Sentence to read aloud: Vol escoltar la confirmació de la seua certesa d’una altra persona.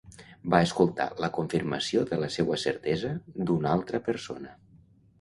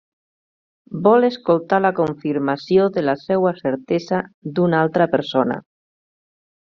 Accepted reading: second